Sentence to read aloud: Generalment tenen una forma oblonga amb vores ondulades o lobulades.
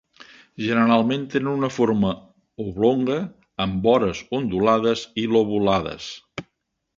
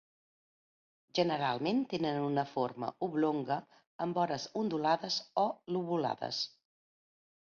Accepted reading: second